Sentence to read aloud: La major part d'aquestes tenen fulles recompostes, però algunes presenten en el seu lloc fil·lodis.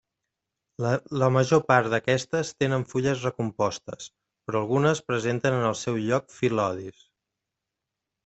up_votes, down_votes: 1, 2